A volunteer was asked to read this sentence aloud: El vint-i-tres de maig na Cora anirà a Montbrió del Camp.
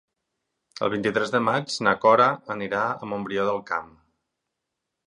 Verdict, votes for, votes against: accepted, 6, 0